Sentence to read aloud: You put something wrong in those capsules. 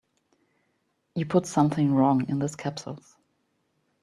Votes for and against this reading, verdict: 2, 0, accepted